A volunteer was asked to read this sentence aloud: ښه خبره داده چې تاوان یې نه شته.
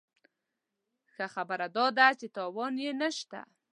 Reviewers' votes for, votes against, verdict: 2, 0, accepted